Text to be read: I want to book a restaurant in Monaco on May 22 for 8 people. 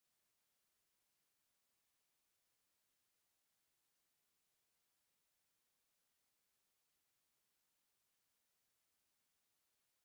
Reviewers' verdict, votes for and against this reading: rejected, 0, 2